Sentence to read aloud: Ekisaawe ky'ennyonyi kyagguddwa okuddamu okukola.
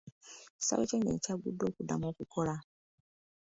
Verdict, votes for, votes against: accepted, 2, 0